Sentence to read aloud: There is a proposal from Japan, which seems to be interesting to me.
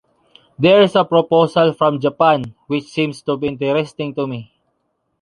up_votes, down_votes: 3, 0